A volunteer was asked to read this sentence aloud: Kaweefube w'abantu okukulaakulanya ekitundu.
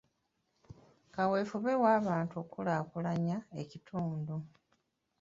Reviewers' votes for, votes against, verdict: 0, 2, rejected